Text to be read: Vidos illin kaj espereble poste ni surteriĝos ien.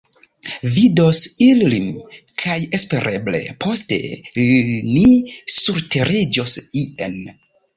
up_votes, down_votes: 1, 2